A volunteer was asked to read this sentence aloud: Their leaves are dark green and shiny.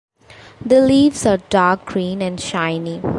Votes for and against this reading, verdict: 0, 2, rejected